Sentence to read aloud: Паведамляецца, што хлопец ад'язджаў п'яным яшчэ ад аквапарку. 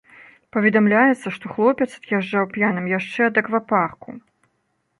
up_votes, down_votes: 2, 0